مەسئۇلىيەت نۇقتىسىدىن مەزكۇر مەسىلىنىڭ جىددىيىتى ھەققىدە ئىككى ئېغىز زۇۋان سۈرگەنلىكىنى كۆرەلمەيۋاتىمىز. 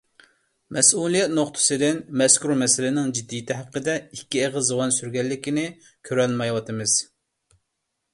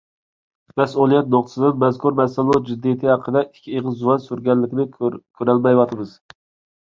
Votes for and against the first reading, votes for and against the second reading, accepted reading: 2, 0, 0, 2, first